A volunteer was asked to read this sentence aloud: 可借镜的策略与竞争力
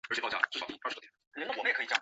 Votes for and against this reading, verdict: 0, 4, rejected